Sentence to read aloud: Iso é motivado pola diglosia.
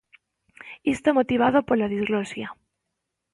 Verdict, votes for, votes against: rejected, 0, 2